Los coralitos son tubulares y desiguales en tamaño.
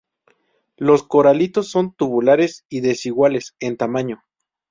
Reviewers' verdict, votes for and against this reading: rejected, 2, 2